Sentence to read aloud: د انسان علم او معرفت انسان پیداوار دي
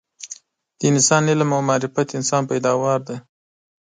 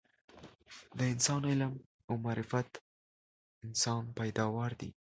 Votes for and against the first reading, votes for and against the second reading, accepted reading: 2, 0, 1, 2, first